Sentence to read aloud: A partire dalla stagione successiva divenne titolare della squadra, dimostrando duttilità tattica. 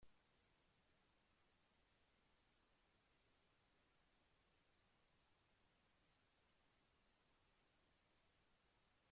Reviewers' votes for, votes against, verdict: 0, 2, rejected